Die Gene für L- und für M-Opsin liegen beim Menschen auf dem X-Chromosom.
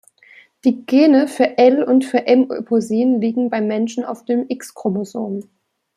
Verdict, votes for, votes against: rejected, 1, 2